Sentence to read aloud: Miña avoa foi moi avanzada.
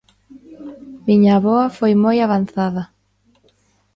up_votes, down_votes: 2, 1